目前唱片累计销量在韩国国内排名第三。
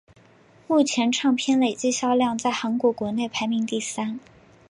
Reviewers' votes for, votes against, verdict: 3, 0, accepted